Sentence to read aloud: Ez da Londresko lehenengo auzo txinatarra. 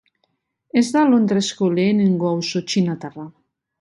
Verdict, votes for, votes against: rejected, 0, 2